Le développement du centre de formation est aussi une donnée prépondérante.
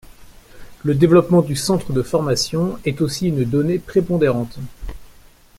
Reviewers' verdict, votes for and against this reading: accepted, 2, 0